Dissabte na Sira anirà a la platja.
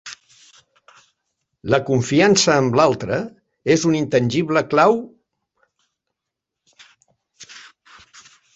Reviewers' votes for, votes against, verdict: 0, 2, rejected